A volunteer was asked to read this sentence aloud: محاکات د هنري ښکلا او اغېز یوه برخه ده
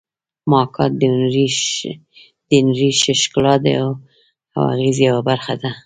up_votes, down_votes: 1, 2